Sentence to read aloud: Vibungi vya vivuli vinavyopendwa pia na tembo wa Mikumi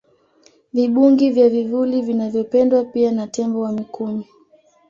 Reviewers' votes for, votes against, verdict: 2, 0, accepted